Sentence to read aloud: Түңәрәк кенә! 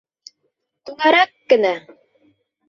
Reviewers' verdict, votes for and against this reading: rejected, 1, 2